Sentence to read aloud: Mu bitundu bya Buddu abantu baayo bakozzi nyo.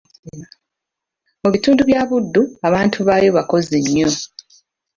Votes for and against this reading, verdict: 2, 0, accepted